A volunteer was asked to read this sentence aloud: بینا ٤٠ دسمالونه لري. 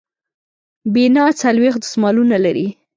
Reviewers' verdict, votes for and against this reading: rejected, 0, 2